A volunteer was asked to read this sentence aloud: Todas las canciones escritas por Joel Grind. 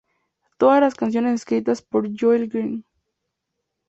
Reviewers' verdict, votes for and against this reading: accepted, 2, 0